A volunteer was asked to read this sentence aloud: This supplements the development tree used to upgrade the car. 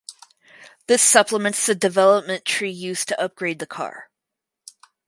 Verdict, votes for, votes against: accepted, 4, 0